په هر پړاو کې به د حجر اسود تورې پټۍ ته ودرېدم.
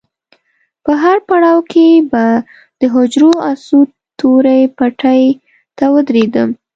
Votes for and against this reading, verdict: 0, 2, rejected